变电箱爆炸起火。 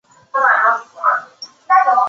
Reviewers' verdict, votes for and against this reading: rejected, 0, 3